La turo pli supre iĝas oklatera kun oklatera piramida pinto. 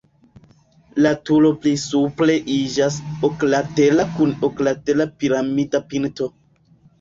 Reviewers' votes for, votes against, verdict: 0, 2, rejected